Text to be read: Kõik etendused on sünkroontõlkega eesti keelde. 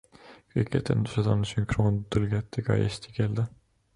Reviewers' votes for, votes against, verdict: 0, 2, rejected